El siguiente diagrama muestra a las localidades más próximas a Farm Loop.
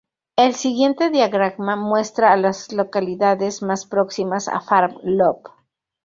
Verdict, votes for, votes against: rejected, 0, 2